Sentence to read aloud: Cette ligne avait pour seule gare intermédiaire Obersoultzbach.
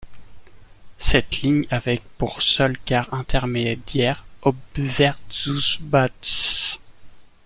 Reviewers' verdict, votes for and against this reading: rejected, 0, 2